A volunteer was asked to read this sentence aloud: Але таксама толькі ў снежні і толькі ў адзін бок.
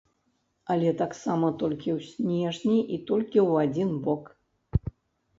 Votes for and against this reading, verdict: 2, 0, accepted